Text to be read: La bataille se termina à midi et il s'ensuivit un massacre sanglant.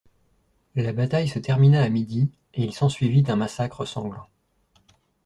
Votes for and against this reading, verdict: 0, 2, rejected